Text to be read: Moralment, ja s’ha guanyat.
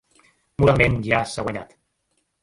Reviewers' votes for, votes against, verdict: 1, 2, rejected